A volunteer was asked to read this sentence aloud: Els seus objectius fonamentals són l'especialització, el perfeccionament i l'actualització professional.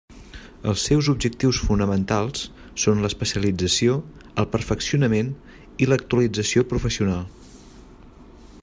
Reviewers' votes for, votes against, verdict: 3, 0, accepted